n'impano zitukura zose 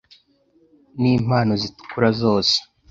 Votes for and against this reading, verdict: 2, 0, accepted